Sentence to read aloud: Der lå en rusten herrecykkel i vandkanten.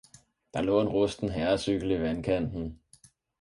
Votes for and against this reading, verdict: 4, 0, accepted